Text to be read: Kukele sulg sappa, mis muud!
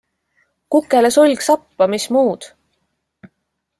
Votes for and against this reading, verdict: 2, 0, accepted